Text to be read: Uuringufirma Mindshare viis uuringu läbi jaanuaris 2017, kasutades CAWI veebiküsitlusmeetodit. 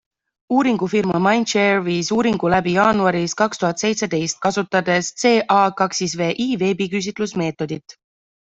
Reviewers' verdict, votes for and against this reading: rejected, 0, 2